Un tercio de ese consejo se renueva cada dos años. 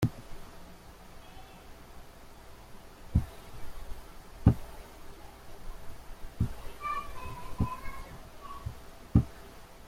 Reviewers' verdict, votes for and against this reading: rejected, 0, 2